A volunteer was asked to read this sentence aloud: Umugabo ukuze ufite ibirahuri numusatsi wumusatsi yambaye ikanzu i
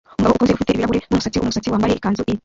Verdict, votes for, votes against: rejected, 1, 2